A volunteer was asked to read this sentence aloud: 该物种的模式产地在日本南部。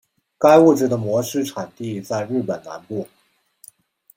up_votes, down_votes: 0, 2